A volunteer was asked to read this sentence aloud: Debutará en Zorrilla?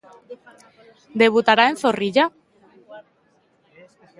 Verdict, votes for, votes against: rejected, 1, 2